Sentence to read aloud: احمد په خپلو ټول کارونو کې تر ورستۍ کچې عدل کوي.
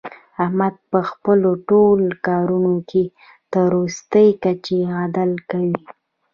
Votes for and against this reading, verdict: 2, 0, accepted